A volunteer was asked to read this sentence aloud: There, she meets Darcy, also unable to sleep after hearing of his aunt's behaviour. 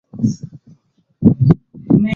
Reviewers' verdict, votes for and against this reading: rejected, 0, 2